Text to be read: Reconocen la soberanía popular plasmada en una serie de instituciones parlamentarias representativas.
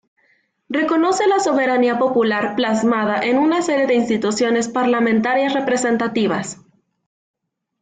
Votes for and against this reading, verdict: 2, 1, accepted